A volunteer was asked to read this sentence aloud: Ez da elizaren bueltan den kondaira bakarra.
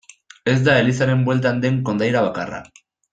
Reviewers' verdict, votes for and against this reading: accepted, 2, 0